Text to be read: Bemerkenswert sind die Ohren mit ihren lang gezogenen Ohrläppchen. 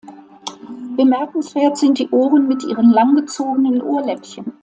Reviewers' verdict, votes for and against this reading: rejected, 0, 2